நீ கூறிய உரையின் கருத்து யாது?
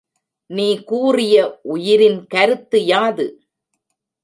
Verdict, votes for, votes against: rejected, 0, 2